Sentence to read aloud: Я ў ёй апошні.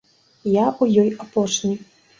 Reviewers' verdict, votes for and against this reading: rejected, 1, 2